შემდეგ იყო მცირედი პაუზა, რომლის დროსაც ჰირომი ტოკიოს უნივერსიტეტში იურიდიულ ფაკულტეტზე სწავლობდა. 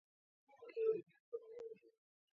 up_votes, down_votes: 0, 2